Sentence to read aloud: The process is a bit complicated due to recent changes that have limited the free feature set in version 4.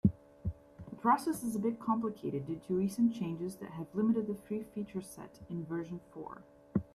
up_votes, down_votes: 0, 2